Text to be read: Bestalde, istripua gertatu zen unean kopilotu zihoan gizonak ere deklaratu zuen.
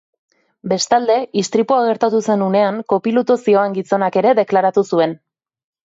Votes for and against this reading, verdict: 2, 0, accepted